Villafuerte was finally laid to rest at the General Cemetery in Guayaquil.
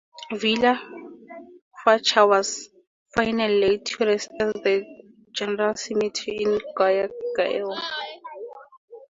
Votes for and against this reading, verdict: 0, 4, rejected